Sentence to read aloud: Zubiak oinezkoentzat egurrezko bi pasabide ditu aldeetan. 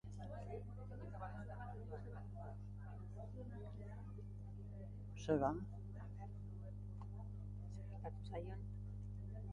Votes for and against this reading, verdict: 0, 4, rejected